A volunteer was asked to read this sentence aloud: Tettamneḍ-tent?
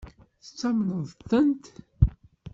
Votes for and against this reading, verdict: 1, 2, rejected